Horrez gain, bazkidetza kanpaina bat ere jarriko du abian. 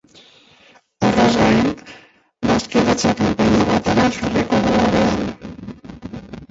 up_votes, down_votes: 0, 2